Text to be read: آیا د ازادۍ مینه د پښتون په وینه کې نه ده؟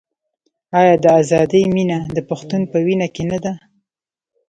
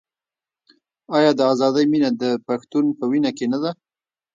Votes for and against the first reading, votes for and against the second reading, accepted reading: 2, 0, 0, 2, first